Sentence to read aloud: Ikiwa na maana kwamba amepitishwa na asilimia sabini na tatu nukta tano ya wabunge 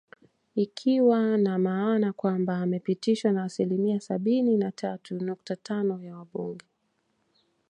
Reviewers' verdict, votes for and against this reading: accepted, 2, 0